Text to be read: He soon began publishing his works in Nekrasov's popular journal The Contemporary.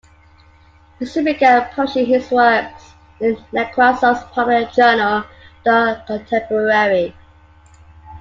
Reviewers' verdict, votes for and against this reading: rejected, 0, 2